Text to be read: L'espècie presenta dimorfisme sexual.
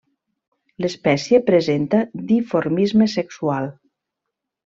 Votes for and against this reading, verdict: 0, 2, rejected